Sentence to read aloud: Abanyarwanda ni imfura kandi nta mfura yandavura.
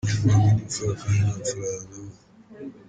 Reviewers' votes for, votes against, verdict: 1, 2, rejected